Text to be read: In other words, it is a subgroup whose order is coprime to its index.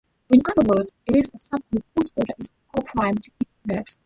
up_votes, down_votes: 0, 2